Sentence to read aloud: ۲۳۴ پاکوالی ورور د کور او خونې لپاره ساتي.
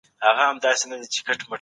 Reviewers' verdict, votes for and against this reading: rejected, 0, 2